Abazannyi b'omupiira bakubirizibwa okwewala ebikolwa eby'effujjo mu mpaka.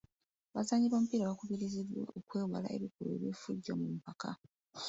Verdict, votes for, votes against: rejected, 1, 2